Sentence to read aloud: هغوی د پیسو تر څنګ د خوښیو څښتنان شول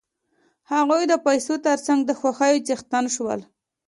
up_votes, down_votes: 2, 1